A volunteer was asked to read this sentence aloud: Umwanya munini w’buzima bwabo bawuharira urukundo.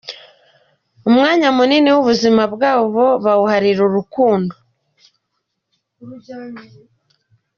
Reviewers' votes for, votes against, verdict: 2, 0, accepted